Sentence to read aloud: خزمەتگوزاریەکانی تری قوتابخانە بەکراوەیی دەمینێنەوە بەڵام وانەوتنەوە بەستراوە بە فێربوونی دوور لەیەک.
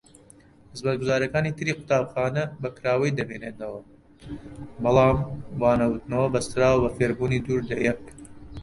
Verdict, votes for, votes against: rejected, 0, 2